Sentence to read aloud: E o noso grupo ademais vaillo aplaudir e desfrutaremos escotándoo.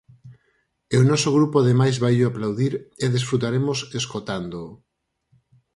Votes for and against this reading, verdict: 4, 0, accepted